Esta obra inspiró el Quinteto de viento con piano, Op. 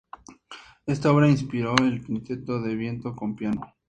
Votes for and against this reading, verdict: 0, 4, rejected